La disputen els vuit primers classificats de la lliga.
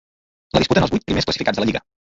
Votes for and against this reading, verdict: 1, 2, rejected